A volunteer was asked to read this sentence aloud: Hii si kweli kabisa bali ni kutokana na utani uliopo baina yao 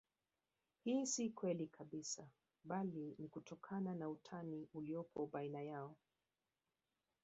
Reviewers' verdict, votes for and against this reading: accepted, 2, 1